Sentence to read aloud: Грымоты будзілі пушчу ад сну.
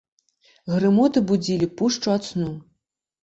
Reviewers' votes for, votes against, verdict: 2, 0, accepted